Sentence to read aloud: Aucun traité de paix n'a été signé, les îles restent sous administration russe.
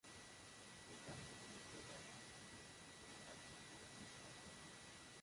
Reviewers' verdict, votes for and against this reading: rejected, 0, 2